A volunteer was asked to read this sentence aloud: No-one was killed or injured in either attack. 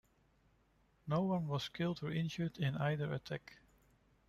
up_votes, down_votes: 0, 2